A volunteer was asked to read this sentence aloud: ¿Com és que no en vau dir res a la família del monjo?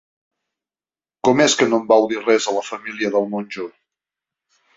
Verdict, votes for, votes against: accepted, 2, 0